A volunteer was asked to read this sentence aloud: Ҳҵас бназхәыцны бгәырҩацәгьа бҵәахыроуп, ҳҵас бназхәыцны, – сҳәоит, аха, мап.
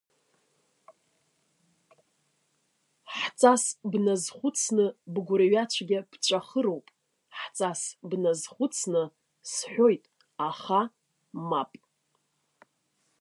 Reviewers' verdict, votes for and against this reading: rejected, 1, 2